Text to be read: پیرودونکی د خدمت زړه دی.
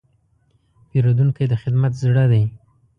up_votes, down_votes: 2, 0